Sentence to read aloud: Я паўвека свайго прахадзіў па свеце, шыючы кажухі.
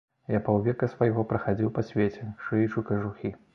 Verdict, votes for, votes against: accepted, 2, 0